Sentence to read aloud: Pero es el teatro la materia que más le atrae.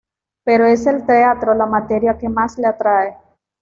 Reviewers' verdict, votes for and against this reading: accepted, 2, 0